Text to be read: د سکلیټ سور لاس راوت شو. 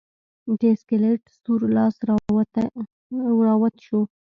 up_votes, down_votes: 1, 2